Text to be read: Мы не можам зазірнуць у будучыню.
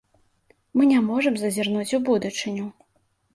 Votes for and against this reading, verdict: 2, 0, accepted